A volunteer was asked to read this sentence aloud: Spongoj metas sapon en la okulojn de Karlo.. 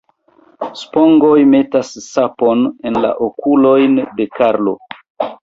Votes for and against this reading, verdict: 0, 2, rejected